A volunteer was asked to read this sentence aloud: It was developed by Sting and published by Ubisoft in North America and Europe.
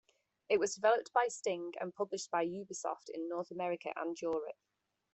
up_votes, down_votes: 0, 2